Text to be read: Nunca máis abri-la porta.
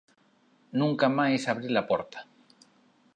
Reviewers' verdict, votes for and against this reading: accepted, 2, 0